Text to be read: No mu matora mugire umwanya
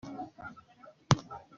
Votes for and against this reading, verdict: 0, 3, rejected